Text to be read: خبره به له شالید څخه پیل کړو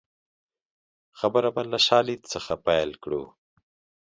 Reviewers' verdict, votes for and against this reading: accepted, 2, 0